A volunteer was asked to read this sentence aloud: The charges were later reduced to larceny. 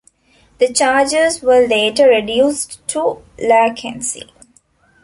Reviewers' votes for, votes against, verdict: 0, 2, rejected